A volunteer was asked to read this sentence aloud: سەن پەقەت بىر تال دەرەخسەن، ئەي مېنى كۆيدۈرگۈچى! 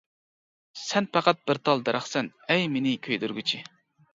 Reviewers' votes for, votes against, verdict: 2, 0, accepted